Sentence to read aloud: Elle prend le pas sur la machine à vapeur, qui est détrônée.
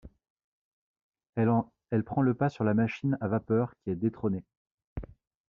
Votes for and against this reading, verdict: 1, 2, rejected